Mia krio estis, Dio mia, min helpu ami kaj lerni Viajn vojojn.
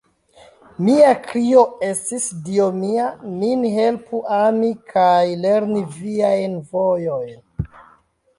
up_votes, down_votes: 0, 3